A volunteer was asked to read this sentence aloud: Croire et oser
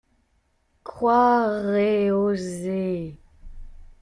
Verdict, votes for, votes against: rejected, 1, 2